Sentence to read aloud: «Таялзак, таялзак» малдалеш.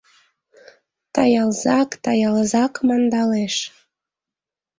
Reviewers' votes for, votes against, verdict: 1, 2, rejected